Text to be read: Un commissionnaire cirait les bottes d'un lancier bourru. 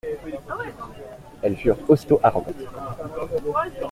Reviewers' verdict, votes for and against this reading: rejected, 0, 2